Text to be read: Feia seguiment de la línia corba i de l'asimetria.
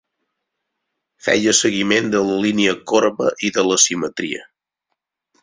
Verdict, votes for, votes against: accepted, 4, 0